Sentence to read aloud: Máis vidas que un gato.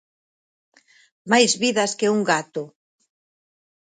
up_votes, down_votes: 6, 0